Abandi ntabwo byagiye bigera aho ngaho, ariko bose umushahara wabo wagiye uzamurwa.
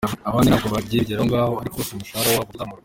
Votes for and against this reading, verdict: 0, 2, rejected